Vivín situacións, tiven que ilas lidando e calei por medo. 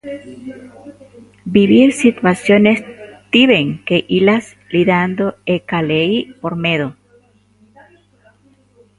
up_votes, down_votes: 0, 2